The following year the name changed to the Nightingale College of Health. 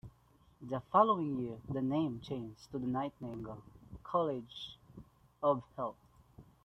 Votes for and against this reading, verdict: 0, 2, rejected